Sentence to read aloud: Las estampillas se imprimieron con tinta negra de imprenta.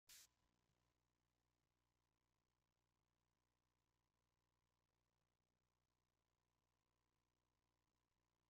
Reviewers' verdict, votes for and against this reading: rejected, 0, 2